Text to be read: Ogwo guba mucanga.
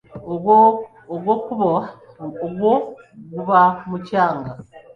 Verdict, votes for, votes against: rejected, 0, 2